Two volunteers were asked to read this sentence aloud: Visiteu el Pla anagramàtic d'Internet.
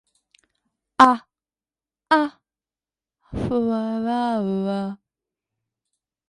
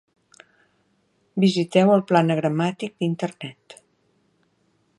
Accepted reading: second